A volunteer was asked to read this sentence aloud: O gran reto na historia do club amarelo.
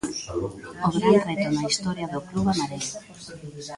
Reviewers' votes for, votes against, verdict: 1, 2, rejected